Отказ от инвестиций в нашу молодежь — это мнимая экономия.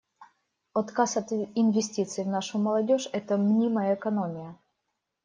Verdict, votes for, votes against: accepted, 2, 1